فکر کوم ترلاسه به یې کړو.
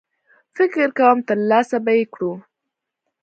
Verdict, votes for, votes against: accepted, 2, 0